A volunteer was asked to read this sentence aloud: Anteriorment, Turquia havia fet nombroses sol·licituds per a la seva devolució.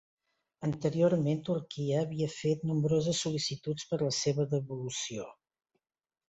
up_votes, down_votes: 1, 2